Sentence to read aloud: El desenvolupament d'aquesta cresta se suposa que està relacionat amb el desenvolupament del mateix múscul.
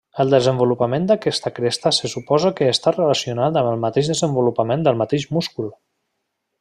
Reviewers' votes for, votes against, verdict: 0, 2, rejected